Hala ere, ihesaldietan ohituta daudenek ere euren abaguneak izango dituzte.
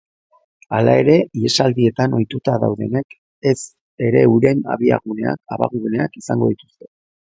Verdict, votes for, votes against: rejected, 0, 3